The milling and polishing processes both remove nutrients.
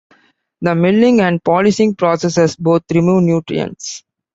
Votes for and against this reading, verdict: 2, 0, accepted